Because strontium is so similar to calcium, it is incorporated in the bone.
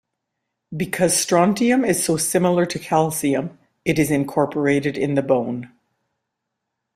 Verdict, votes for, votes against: accepted, 2, 0